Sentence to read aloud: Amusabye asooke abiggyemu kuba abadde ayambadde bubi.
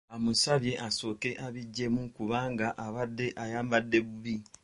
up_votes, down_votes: 1, 2